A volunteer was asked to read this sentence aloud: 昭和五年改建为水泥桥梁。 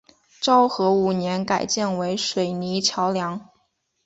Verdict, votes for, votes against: accepted, 2, 1